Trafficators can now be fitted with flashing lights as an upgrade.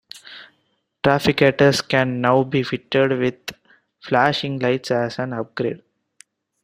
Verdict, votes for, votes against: accepted, 2, 0